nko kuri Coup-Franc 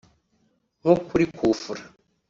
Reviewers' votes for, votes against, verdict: 2, 0, accepted